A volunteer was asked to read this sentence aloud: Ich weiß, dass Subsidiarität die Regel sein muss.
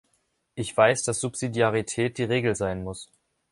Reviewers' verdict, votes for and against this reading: accepted, 2, 0